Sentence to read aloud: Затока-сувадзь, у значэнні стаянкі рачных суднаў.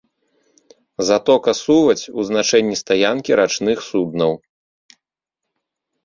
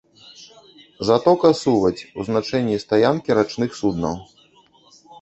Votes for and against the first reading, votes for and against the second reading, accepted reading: 2, 0, 0, 2, first